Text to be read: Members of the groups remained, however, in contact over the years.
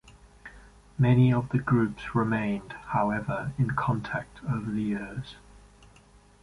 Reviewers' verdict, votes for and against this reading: rejected, 0, 2